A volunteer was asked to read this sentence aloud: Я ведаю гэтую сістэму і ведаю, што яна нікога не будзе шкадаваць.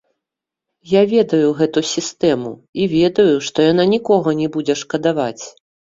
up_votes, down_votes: 1, 2